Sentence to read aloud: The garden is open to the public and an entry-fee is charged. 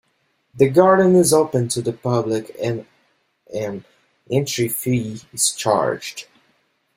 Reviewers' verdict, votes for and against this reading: accepted, 2, 0